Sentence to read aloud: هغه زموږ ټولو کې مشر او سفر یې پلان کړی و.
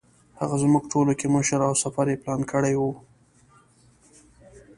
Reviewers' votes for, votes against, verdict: 2, 0, accepted